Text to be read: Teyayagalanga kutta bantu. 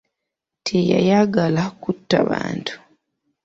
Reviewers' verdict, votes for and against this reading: rejected, 0, 2